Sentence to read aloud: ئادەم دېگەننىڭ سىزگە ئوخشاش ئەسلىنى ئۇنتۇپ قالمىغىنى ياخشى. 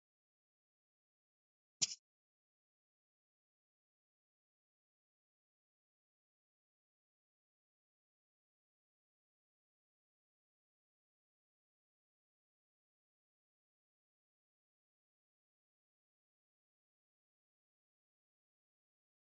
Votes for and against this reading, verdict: 0, 2, rejected